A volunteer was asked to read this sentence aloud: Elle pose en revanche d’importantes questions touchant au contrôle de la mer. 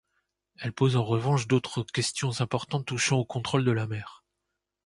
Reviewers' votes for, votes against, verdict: 0, 2, rejected